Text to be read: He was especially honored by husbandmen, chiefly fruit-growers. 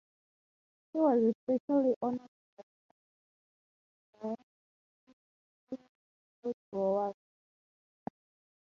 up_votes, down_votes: 0, 3